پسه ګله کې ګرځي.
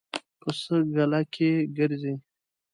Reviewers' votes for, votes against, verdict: 2, 0, accepted